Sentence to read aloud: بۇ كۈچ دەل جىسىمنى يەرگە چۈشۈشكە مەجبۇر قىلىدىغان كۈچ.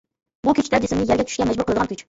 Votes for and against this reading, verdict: 0, 2, rejected